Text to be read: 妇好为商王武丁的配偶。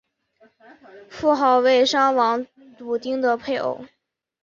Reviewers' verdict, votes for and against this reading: accepted, 4, 0